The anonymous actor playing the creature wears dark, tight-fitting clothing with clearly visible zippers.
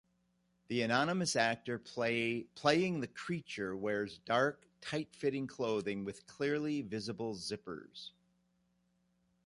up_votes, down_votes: 0, 2